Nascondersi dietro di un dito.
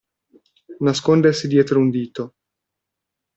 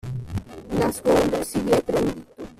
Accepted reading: first